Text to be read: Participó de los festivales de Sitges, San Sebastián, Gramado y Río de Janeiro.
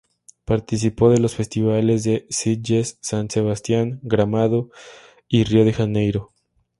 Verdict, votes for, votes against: accepted, 4, 0